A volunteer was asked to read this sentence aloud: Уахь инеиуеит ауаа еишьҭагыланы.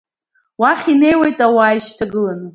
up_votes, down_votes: 1, 2